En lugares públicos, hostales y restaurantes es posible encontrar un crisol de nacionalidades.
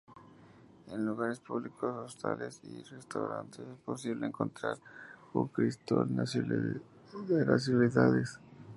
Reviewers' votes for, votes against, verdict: 0, 2, rejected